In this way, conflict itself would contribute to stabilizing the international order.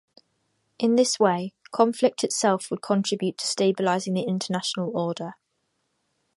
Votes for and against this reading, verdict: 2, 0, accepted